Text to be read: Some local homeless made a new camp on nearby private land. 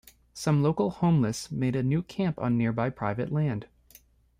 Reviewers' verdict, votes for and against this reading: accepted, 2, 1